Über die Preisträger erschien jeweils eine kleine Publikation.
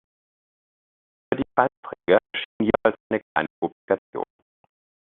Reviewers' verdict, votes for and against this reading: rejected, 0, 2